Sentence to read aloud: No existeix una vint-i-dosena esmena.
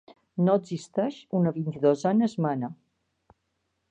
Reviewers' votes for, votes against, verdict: 1, 2, rejected